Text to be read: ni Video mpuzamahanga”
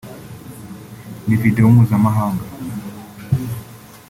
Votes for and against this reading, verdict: 4, 0, accepted